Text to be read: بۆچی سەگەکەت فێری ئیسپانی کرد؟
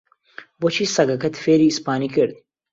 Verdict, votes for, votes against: accepted, 2, 0